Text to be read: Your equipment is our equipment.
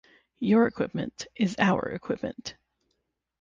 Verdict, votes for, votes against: accepted, 6, 0